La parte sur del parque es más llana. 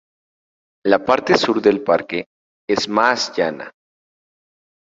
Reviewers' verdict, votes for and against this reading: accepted, 4, 0